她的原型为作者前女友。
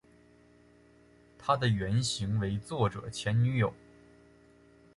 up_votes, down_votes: 4, 1